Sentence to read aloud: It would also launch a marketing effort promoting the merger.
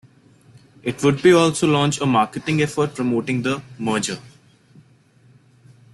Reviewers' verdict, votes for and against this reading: accepted, 2, 0